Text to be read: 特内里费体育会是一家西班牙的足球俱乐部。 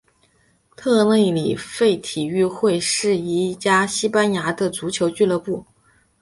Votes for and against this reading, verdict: 5, 0, accepted